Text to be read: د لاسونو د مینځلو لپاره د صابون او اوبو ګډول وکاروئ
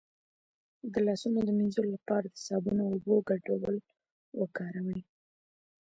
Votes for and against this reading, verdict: 2, 0, accepted